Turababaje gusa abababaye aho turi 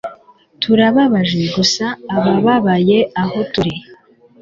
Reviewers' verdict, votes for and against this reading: rejected, 1, 2